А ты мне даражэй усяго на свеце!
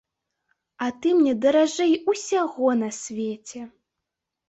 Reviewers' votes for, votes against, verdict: 2, 0, accepted